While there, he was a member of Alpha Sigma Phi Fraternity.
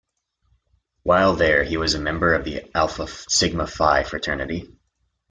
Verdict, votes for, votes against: accepted, 2, 0